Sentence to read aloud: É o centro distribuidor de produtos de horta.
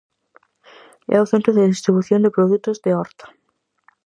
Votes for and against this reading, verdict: 0, 4, rejected